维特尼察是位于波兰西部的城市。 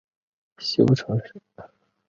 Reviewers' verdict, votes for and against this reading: rejected, 1, 4